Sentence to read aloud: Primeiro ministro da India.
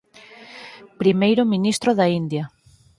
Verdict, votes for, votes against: accepted, 4, 0